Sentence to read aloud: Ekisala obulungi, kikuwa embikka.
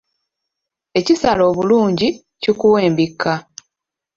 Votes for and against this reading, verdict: 2, 0, accepted